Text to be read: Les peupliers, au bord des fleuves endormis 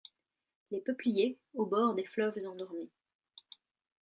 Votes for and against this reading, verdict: 2, 1, accepted